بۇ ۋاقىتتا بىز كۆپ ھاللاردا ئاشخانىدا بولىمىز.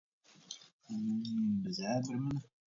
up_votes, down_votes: 0, 2